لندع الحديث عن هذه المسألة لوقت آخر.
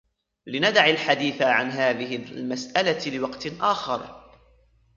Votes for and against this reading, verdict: 1, 2, rejected